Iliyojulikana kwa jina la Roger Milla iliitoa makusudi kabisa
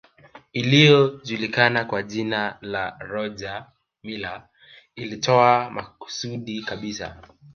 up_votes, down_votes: 2, 0